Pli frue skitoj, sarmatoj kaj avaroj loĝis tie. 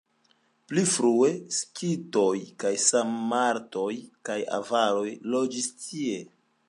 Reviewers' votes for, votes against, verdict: 2, 0, accepted